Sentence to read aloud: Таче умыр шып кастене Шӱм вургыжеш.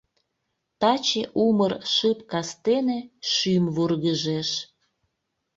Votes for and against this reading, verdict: 2, 0, accepted